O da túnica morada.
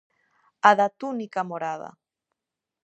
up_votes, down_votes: 0, 2